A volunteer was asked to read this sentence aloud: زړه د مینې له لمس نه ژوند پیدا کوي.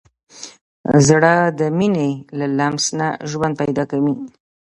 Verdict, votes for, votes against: accepted, 2, 0